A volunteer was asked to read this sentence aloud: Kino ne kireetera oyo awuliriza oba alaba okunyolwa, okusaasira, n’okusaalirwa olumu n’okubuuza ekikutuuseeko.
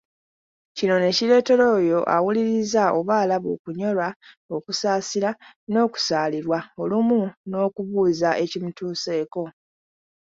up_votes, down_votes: 2, 1